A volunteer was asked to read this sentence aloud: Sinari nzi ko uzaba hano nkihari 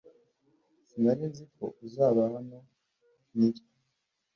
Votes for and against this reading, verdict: 1, 2, rejected